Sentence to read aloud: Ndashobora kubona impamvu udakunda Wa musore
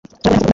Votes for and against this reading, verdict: 1, 2, rejected